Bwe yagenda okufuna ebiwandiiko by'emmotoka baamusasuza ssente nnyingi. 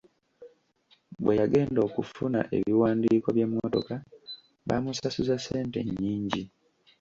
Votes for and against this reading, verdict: 2, 1, accepted